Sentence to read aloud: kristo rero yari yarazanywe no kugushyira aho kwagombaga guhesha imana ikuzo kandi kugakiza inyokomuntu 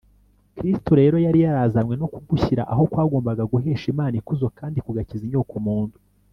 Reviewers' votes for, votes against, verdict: 2, 0, accepted